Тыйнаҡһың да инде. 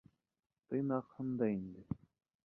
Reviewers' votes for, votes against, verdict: 1, 2, rejected